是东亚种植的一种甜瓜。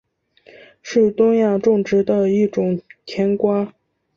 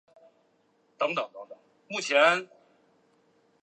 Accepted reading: first